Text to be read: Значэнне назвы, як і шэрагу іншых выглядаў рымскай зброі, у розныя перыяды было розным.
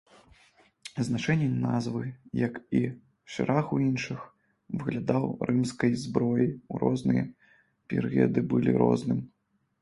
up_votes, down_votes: 0, 2